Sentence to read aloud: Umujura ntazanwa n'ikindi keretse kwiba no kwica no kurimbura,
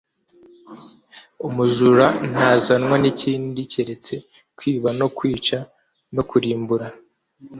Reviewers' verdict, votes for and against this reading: accepted, 3, 0